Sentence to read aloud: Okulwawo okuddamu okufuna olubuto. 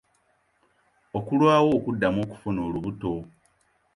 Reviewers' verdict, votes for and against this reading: accepted, 2, 0